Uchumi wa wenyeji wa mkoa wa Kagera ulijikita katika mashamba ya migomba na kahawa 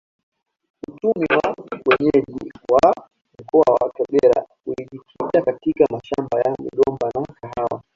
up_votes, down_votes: 0, 2